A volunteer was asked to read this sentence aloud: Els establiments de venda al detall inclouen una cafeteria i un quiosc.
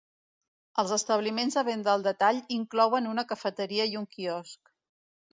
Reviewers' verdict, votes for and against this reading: accepted, 2, 0